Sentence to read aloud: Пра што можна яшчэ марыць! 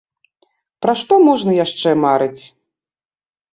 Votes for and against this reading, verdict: 2, 0, accepted